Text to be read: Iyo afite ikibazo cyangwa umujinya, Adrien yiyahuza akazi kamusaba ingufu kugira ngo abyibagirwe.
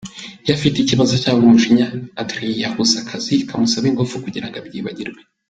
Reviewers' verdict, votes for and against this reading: accepted, 2, 0